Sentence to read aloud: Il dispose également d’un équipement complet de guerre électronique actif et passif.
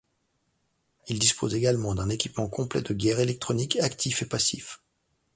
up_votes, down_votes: 2, 0